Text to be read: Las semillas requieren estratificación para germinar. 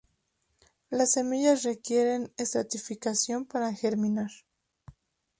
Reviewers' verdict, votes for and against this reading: accepted, 2, 0